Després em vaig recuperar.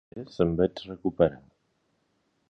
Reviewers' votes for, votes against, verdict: 0, 2, rejected